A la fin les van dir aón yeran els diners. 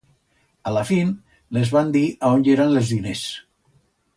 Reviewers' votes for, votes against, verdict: 1, 2, rejected